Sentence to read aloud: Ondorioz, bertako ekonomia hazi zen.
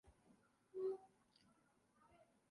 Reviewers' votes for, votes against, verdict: 2, 6, rejected